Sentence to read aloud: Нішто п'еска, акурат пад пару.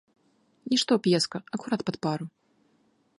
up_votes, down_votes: 3, 1